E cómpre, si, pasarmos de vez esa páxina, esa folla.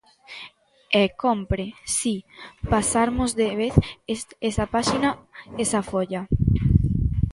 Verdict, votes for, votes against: rejected, 1, 2